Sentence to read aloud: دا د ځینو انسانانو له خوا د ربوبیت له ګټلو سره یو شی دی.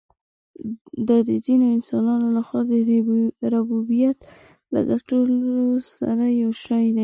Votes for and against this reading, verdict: 1, 2, rejected